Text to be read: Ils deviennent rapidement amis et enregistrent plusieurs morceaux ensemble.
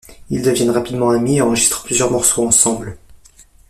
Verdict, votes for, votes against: accepted, 2, 1